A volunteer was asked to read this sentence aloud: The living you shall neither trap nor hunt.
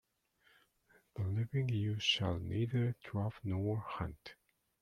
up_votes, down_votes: 2, 1